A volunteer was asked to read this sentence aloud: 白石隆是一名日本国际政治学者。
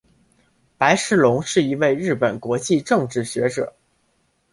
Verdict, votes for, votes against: accepted, 2, 0